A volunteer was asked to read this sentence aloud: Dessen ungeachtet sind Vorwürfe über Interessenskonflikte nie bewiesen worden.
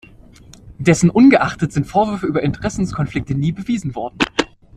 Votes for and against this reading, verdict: 2, 0, accepted